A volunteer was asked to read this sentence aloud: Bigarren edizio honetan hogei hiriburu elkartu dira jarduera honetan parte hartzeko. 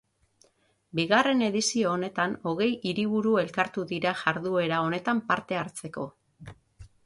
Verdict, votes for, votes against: accepted, 6, 0